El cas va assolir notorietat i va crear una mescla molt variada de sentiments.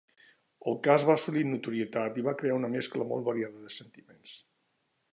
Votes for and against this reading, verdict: 2, 0, accepted